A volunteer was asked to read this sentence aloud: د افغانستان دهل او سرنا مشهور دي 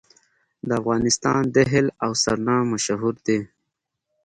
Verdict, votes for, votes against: rejected, 1, 2